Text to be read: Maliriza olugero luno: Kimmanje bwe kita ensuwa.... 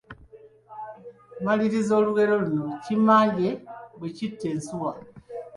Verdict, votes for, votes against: rejected, 0, 2